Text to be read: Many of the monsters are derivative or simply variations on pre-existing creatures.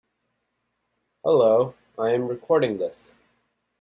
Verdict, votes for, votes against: rejected, 0, 2